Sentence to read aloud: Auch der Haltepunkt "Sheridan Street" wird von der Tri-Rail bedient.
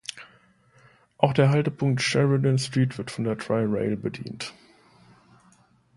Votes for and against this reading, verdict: 2, 0, accepted